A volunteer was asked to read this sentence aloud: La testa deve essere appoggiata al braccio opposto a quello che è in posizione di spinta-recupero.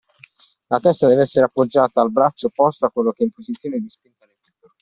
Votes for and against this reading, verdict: 0, 2, rejected